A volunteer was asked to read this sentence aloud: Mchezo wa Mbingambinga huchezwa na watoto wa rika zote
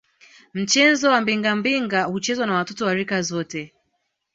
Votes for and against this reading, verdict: 2, 0, accepted